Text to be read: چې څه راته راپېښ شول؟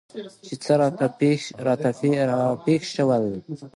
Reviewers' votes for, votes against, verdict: 2, 1, accepted